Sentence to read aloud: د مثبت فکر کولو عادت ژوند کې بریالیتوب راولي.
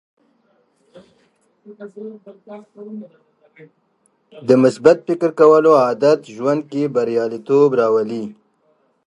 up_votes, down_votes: 0, 2